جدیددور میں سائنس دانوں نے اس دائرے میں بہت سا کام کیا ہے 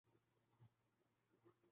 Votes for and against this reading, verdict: 0, 2, rejected